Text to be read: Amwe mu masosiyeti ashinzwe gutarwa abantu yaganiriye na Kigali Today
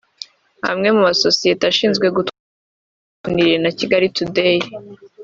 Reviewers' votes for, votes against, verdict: 3, 2, accepted